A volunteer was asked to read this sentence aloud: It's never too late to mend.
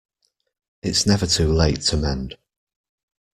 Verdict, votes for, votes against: accepted, 2, 0